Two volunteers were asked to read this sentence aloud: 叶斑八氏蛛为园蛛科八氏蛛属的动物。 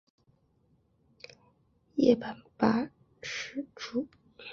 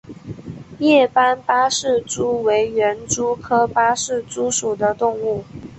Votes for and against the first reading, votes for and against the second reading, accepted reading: 0, 2, 2, 0, second